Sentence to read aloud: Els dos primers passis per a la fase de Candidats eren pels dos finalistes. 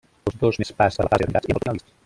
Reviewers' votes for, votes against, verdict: 0, 2, rejected